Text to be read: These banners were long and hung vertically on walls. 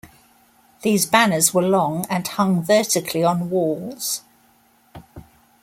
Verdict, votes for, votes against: accepted, 2, 0